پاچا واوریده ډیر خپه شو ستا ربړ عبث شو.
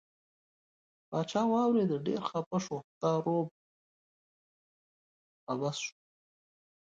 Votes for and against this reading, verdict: 0, 2, rejected